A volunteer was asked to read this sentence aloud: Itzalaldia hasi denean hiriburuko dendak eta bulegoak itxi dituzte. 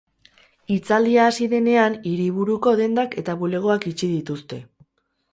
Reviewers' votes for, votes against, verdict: 2, 2, rejected